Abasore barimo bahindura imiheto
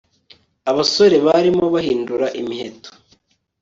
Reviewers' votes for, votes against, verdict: 2, 0, accepted